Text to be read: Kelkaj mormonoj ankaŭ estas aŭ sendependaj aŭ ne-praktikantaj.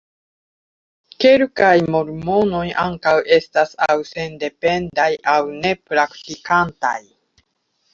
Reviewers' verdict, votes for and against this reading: accepted, 2, 1